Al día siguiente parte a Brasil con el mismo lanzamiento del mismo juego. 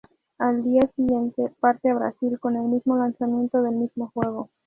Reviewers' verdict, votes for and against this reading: accepted, 2, 0